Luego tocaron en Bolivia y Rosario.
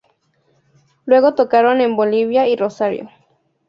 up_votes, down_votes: 2, 0